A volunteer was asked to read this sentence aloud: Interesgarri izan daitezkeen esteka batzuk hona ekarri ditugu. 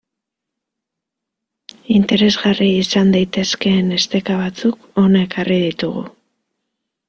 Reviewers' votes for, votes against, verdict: 2, 0, accepted